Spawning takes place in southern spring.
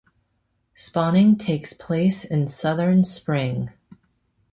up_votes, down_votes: 2, 0